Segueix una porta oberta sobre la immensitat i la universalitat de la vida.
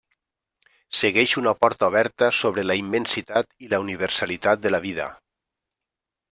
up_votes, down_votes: 3, 0